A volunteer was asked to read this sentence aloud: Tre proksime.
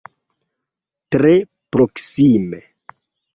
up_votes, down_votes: 0, 2